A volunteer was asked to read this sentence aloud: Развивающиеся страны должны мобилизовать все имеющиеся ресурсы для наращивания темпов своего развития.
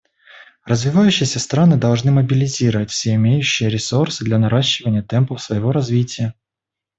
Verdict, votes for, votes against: rejected, 0, 2